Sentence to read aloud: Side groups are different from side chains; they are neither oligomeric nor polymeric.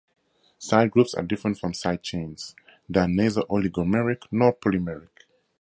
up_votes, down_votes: 4, 0